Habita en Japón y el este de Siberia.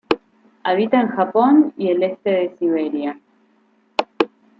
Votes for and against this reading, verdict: 2, 0, accepted